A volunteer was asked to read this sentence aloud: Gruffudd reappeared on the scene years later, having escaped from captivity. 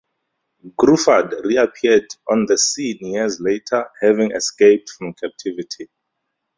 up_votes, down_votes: 2, 0